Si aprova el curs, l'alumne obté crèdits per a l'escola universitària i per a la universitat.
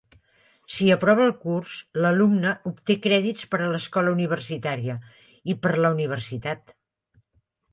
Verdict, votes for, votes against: accepted, 2, 0